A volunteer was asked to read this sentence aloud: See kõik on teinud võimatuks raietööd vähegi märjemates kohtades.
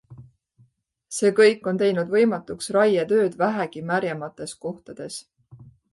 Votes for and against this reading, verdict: 2, 0, accepted